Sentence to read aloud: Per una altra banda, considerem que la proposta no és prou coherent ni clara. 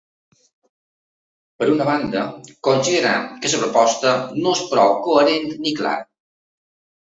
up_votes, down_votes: 0, 3